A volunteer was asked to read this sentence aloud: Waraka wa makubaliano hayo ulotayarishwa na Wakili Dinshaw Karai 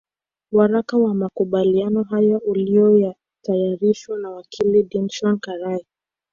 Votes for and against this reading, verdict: 1, 2, rejected